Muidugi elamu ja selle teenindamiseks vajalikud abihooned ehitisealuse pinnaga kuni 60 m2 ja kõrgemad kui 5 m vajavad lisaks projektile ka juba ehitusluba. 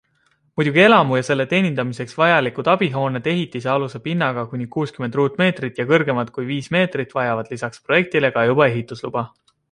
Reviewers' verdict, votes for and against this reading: rejected, 0, 2